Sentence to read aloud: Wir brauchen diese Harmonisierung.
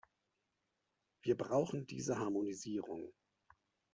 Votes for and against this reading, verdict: 2, 0, accepted